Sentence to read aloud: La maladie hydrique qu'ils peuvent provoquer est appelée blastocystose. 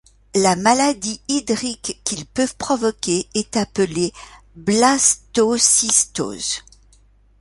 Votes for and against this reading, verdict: 3, 0, accepted